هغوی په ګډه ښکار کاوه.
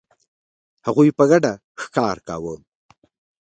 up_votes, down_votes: 2, 0